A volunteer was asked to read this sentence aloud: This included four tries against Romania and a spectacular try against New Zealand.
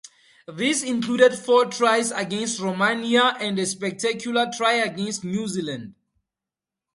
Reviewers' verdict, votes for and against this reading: accepted, 2, 0